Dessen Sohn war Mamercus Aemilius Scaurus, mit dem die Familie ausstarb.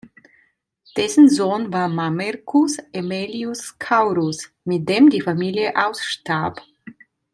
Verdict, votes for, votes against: rejected, 1, 2